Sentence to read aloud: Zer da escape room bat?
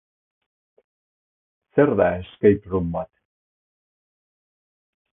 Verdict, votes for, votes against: rejected, 0, 2